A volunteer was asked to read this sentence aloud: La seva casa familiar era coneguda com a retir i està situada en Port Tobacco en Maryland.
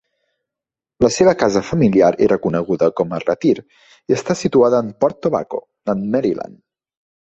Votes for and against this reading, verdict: 2, 0, accepted